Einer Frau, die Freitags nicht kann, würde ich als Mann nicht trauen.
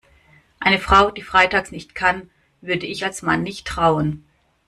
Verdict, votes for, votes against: rejected, 1, 2